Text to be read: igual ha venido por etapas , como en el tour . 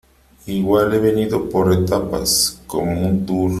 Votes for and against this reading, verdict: 0, 3, rejected